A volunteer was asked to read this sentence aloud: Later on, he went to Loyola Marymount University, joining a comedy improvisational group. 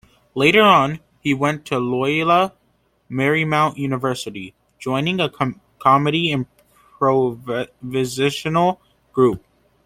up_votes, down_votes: 0, 2